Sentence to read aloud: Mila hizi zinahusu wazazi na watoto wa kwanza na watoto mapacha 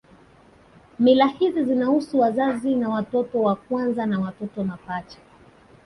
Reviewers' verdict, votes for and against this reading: accepted, 2, 0